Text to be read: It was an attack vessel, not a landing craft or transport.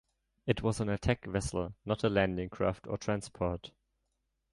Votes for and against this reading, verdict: 2, 0, accepted